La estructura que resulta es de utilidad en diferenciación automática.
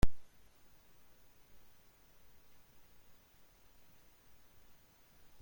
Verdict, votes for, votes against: rejected, 1, 2